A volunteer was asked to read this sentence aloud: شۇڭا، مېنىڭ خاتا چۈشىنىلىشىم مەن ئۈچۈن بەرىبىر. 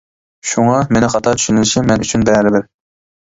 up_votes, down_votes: 2, 1